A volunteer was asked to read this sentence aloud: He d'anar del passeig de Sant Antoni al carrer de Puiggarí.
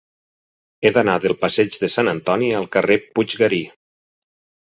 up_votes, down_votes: 0, 4